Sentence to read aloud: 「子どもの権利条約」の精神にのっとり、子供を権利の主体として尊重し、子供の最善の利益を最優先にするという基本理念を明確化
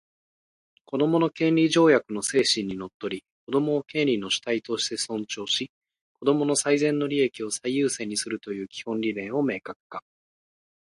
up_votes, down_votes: 2, 1